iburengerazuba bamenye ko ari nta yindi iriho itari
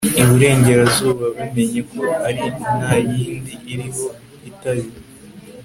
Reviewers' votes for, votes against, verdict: 1, 2, rejected